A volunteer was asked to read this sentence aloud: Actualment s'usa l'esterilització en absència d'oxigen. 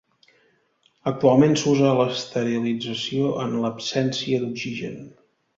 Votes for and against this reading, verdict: 0, 2, rejected